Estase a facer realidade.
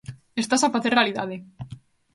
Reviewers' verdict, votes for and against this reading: accepted, 2, 0